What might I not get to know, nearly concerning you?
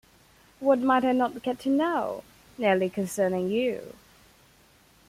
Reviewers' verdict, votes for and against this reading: accepted, 2, 0